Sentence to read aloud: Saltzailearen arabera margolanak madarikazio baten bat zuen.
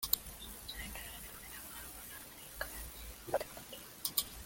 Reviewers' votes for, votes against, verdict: 0, 2, rejected